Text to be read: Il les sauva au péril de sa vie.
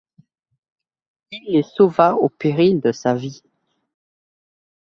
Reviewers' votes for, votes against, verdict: 0, 2, rejected